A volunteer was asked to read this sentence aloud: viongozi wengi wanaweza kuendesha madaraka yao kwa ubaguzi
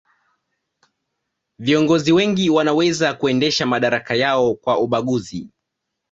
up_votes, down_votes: 2, 0